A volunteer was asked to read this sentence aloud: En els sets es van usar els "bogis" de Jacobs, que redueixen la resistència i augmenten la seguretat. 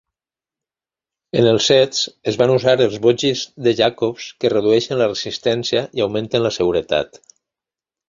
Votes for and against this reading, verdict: 2, 0, accepted